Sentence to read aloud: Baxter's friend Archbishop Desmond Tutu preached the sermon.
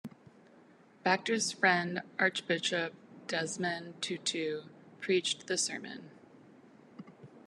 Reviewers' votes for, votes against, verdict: 2, 0, accepted